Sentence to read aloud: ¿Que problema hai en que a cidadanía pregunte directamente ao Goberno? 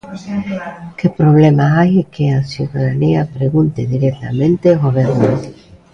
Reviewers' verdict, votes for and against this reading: rejected, 1, 2